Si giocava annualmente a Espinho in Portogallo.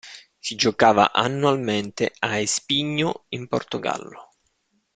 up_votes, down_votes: 3, 0